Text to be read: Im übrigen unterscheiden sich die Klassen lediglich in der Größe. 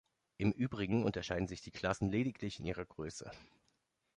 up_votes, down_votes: 0, 2